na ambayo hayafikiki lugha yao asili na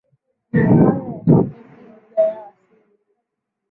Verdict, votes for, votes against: rejected, 3, 6